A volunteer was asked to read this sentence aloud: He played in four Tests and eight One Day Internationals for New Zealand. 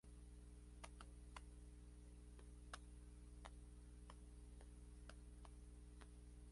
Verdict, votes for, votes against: rejected, 0, 2